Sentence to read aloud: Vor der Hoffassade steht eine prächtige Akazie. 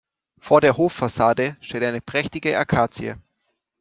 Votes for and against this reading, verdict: 2, 0, accepted